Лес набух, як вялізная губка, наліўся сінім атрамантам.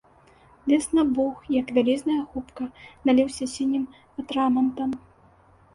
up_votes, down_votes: 2, 0